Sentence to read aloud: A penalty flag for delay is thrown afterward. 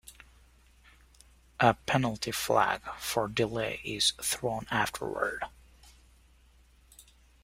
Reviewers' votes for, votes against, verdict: 2, 0, accepted